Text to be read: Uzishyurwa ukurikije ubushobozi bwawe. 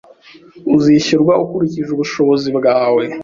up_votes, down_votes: 2, 0